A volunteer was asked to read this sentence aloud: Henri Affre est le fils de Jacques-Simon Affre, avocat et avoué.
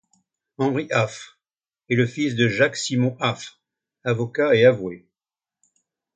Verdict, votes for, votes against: accepted, 2, 0